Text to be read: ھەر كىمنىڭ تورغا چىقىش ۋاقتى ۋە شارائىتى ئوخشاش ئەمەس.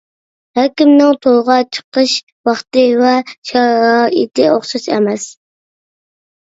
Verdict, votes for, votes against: accepted, 2, 1